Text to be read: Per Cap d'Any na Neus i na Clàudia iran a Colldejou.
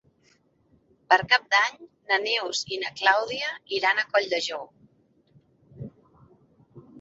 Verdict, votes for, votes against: accepted, 2, 0